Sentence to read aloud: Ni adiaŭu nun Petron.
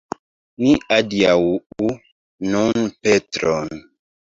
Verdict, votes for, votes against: rejected, 1, 2